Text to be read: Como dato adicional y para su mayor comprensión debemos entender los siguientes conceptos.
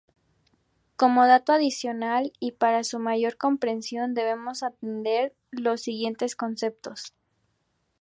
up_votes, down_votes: 2, 2